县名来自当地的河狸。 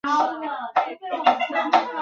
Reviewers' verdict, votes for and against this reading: rejected, 1, 3